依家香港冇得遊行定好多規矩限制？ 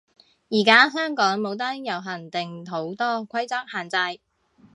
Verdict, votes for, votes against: rejected, 0, 2